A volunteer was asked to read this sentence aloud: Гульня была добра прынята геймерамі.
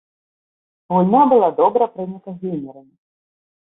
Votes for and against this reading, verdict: 0, 2, rejected